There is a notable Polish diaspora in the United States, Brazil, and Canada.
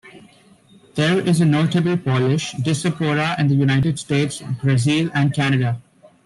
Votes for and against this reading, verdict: 1, 2, rejected